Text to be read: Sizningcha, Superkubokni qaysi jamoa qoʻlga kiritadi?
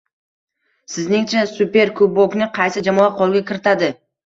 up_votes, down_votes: 1, 2